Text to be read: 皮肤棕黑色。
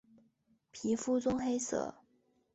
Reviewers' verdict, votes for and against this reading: accepted, 2, 0